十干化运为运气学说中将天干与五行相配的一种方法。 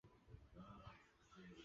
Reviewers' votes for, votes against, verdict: 1, 4, rejected